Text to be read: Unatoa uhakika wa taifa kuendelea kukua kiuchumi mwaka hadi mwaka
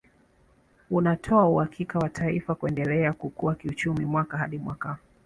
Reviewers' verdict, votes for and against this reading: accepted, 3, 1